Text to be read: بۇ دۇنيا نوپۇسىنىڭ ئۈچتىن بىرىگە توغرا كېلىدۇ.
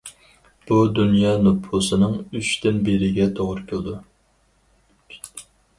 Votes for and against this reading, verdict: 4, 0, accepted